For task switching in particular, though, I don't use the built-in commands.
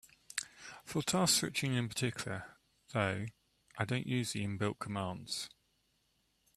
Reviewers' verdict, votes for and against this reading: accepted, 2, 1